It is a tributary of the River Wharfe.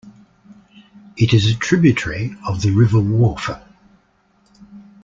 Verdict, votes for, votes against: accepted, 2, 0